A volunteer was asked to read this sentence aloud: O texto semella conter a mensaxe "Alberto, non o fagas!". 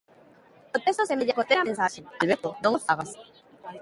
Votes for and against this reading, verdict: 0, 2, rejected